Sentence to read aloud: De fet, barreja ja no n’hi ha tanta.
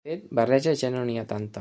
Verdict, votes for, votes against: rejected, 0, 2